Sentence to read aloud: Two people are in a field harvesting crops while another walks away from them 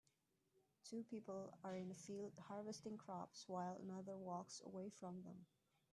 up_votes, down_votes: 0, 2